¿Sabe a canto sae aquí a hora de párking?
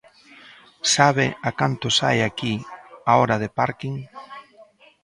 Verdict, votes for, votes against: accepted, 2, 0